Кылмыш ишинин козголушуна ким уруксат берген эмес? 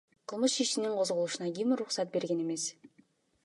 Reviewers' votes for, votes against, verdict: 2, 1, accepted